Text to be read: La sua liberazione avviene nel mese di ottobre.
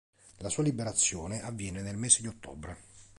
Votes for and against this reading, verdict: 3, 0, accepted